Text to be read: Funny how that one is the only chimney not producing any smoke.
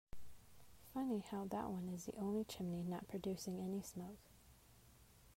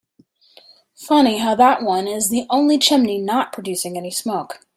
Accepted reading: second